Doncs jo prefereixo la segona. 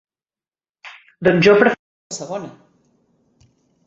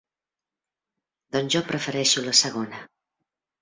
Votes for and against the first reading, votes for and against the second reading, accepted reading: 0, 4, 4, 0, second